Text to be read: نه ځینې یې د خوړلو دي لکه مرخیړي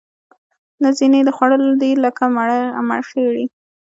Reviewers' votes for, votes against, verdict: 2, 0, accepted